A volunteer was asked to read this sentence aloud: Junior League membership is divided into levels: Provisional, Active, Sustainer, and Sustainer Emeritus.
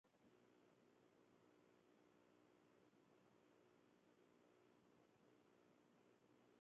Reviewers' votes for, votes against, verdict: 0, 2, rejected